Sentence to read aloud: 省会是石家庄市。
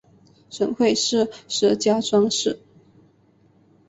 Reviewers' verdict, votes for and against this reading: accepted, 6, 0